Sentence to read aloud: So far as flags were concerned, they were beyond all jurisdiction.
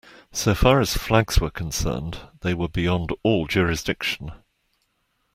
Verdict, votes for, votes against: accepted, 2, 0